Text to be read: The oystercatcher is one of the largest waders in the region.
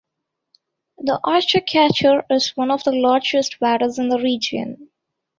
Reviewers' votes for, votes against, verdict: 2, 0, accepted